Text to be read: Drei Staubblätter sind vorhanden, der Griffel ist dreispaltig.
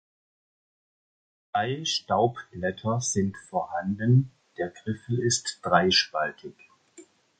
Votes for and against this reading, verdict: 1, 2, rejected